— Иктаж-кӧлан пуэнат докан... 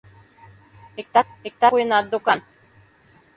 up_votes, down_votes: 0, 2